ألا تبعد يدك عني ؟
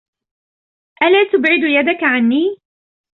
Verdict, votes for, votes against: accepted, 2, 0